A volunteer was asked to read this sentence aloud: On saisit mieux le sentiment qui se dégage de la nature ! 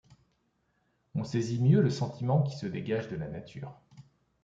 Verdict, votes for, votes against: accepted, 2, 0